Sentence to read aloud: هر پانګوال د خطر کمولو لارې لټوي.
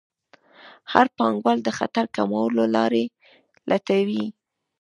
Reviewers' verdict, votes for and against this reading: rejected, 1, 2